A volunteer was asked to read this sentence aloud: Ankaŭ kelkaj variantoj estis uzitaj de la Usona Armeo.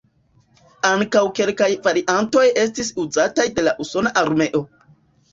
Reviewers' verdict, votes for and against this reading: accepted, 2, 0